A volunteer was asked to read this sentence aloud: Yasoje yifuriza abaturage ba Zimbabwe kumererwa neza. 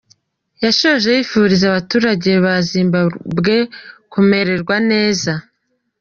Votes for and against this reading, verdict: 0, 2, rejected